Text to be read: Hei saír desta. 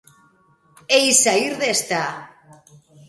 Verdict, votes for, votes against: accepted, 3, 0